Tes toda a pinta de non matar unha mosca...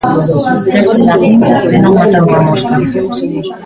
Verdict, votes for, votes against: rejected, 0, 2